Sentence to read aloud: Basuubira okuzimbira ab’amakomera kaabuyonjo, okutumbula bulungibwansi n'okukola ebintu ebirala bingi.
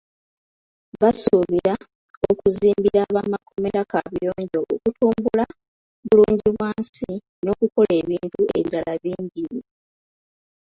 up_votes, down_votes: 2, 1